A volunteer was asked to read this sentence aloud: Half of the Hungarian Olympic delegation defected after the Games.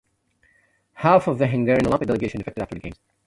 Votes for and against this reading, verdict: 0, 2, rejected